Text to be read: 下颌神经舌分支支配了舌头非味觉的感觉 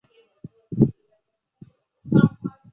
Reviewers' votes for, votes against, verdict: 0, 2, rejected